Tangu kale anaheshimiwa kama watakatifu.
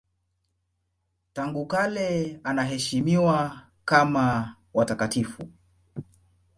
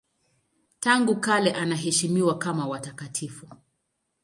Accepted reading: second